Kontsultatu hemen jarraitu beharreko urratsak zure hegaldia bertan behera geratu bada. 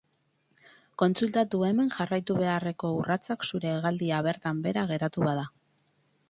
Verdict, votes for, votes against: accepted, 12, 0